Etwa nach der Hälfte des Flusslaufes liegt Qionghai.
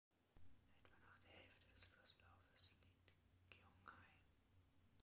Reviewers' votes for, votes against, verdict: 1, 2, rejected